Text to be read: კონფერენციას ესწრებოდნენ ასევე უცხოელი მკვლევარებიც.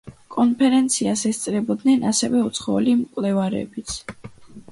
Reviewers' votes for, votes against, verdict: 2, 0, accepted